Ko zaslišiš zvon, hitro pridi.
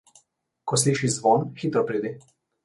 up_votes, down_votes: 0, 2